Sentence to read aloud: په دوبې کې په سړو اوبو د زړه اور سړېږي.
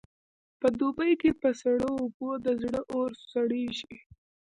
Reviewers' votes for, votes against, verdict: 0, 2, rejected